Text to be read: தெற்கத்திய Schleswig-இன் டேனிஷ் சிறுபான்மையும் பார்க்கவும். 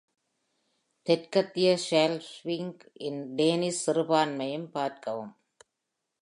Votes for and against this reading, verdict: 0, 2, rejected